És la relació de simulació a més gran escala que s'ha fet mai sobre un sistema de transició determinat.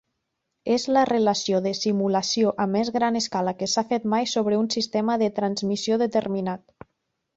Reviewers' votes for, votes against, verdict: 1, 4, rejected